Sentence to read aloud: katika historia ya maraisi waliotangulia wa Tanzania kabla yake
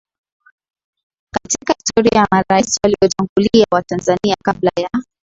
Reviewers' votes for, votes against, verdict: 0, 2, rejected